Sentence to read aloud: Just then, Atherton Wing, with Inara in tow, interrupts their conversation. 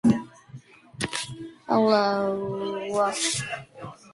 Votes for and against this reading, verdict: 0, 2, rejected